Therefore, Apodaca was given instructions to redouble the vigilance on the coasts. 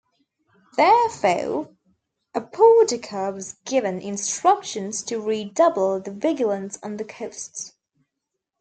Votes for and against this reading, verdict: 0, 2, rejected